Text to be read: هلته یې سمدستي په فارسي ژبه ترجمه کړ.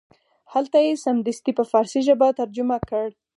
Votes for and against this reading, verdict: 2, 4, rejected